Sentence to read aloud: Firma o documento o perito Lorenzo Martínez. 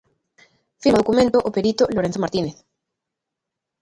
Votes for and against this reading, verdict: 0, 2, rejected